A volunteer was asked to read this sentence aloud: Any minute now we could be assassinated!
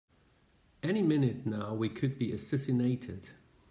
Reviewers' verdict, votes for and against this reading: accepted, 2, 0